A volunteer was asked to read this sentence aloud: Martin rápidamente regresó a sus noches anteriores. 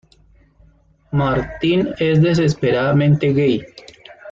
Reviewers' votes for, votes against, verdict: 0, 2, rejected